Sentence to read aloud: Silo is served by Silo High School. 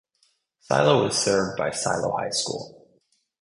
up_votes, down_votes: 4, 0